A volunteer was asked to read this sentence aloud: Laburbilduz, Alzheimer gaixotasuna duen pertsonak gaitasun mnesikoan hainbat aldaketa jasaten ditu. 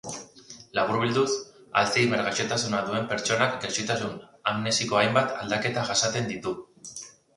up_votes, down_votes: 0, 2